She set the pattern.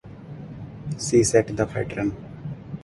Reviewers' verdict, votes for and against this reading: accepted, 4, 0